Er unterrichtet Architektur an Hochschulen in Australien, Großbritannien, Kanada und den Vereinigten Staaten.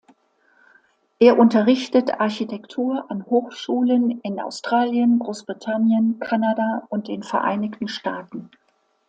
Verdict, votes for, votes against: accepted, 2, 0